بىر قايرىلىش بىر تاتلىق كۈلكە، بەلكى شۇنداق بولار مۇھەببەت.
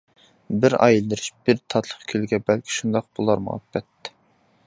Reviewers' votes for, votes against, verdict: 0, 2, rejected